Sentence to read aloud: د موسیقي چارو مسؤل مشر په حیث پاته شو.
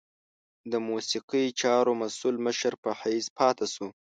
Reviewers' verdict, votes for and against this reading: accepted, 2, 0